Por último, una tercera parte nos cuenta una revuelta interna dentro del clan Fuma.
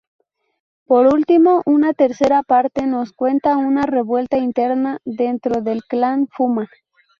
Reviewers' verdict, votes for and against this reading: accepted, 2, 0